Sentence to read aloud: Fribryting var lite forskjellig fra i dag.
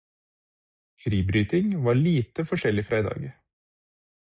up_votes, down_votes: 4, 0